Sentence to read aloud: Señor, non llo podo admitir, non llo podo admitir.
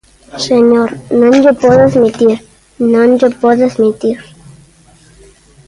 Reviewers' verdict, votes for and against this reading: accepted, 2, 0